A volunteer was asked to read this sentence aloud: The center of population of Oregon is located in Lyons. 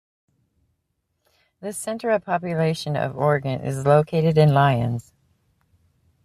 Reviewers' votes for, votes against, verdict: 2, 0, accepted